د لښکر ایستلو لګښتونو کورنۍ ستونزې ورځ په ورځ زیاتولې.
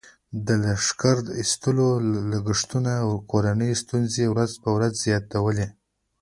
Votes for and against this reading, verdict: 2, 0, accepted